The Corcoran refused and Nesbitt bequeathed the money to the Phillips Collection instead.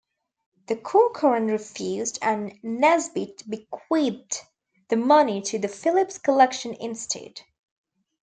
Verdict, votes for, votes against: accepted, 2, 0